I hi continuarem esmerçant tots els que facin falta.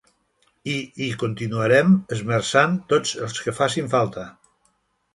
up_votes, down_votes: 3, 0